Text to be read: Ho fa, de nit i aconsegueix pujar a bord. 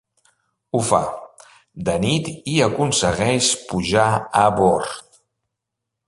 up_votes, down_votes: 2, 0